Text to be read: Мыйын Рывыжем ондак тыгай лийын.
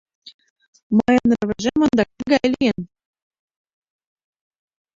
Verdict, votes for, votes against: rejected, 0, 2